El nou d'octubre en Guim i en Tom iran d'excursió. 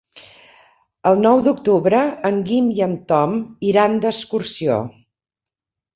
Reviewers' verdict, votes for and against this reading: accepted, 3, 0